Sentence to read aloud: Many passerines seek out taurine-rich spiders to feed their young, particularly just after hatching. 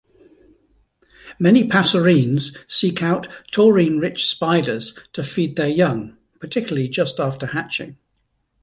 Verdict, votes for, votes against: accepted, 2, 0